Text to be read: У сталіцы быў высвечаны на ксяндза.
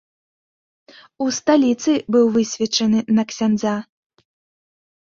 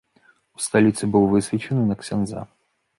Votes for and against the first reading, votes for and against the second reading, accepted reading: 2, 0, 1, 2, first